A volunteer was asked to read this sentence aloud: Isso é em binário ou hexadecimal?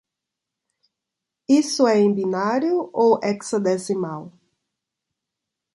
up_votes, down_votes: 2, 0